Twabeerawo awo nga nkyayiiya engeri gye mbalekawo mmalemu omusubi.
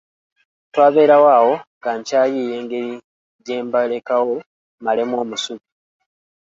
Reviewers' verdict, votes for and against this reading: accepted, 2, 0